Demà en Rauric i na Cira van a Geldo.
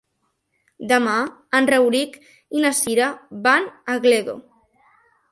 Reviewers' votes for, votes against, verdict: 1, 2, rejected